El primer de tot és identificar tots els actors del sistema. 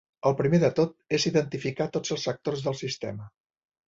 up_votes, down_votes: 2, 0